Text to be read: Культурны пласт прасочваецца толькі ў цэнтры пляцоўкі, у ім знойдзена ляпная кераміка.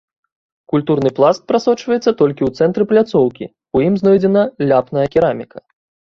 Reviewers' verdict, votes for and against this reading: rejected, 1, 2